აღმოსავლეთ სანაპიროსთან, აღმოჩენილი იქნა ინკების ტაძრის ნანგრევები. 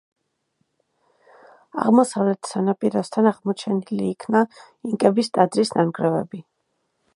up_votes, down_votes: 1, 2